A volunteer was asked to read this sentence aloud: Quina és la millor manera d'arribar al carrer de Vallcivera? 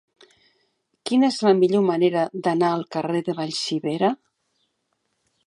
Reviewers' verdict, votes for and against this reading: rejected, 1, 2